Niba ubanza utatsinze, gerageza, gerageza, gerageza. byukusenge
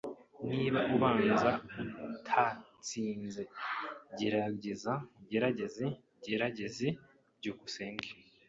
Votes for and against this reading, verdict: 0, 2, rejected